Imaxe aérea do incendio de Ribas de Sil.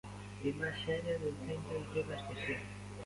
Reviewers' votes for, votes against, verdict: 0, 2, rejected